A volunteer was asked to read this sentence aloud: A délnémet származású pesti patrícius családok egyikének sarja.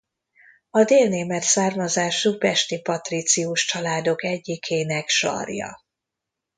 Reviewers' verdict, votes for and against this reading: rejected, 0, 2